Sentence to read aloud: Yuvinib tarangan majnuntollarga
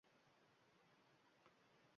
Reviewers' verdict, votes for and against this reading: rejected, 1, 2